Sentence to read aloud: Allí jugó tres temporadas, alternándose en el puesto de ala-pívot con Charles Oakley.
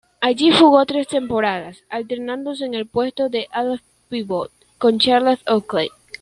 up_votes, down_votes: 1, 2